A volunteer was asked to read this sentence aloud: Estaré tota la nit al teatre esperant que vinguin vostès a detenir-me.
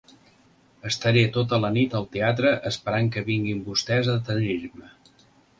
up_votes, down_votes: 2, 0